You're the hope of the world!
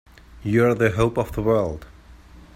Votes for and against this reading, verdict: 2, 0, accepted